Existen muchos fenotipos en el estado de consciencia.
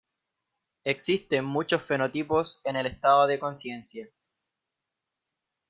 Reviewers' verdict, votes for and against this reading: accepted, 2, 0